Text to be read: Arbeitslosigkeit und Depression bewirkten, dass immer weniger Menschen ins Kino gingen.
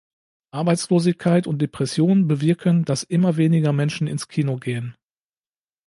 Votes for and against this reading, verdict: 0, 2, rejected